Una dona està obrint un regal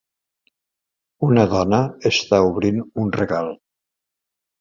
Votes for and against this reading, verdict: 2, 0, accepted